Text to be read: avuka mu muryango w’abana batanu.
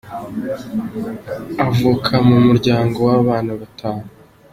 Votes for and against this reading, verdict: 2, 0, accepted